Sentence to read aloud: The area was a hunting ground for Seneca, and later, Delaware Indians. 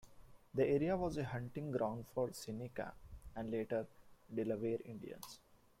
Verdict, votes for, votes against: rejected, 0, 2